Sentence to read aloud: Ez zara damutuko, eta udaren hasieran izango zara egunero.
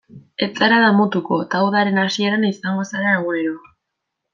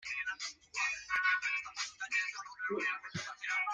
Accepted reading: first